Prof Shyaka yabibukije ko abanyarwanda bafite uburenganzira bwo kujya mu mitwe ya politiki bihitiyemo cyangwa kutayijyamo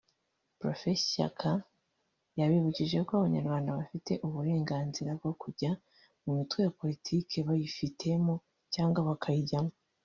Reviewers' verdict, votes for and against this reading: rejected, 1, 2